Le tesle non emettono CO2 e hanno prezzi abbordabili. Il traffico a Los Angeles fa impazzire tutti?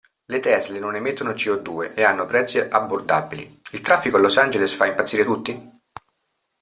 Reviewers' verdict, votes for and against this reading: rejected, 0, 2